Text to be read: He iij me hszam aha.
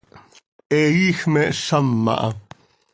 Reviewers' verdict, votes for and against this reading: accepted, 2, 0